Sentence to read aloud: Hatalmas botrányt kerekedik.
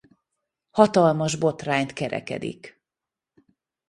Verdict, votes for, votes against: rejected, 1, 2